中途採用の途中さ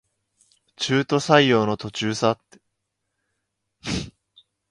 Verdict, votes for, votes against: accepted, 2, 1